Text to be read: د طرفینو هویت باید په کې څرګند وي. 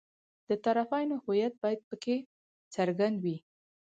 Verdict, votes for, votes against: rejected, 2, 4